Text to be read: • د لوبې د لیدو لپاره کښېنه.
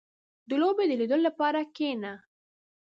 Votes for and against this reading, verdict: 2, 1, accepted